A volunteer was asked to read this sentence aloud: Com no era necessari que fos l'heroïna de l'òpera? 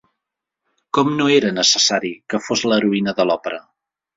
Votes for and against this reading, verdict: 2, 0, accepted